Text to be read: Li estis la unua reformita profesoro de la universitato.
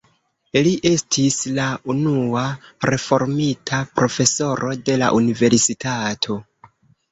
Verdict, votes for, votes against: rejected, 0, 2